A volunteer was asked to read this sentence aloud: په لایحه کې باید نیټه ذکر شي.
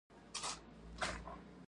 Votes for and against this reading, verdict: 0, 2, rejected